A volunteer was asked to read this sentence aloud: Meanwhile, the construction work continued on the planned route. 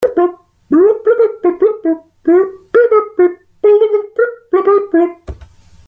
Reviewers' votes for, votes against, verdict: 0, 2, rejected